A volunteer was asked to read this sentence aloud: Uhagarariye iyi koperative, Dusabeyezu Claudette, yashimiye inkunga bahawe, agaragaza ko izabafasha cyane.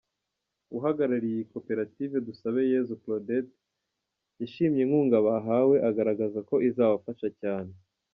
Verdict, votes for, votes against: rejected, 1, 2